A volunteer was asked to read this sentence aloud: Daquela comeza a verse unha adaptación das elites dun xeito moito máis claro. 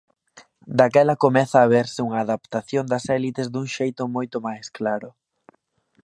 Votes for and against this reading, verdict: 1, 2, rejected